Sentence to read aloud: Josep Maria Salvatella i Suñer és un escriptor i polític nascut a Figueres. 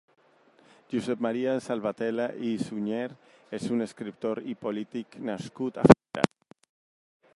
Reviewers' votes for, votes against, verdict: 0, 2, rejected